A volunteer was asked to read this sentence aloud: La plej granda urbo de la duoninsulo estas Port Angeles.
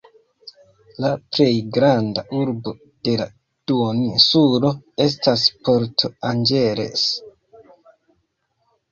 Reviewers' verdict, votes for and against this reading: rejected, 1, 2